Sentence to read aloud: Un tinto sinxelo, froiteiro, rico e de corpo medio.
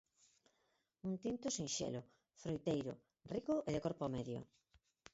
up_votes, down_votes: 2, 4